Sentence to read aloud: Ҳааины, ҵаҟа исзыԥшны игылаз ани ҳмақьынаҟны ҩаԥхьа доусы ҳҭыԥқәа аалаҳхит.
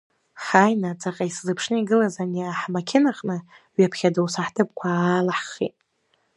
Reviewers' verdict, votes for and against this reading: accepted, 2, 0